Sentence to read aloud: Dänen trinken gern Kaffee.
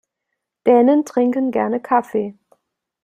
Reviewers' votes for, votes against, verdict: 0, 2, rejected